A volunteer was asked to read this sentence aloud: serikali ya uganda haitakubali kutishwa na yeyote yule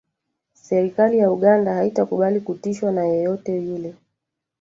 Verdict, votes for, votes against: rejected, 0, 2